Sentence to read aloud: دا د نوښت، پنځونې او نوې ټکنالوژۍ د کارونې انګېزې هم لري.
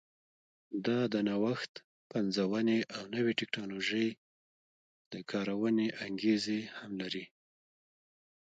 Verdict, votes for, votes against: accepted, 2, 1